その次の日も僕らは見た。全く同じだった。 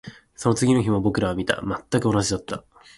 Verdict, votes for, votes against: accepted, 2, 0